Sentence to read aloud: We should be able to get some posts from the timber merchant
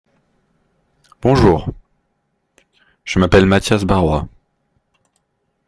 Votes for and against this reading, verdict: 0, 2, rejected